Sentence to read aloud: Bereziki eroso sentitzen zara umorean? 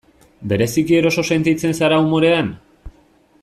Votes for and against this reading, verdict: 2, 0, accepted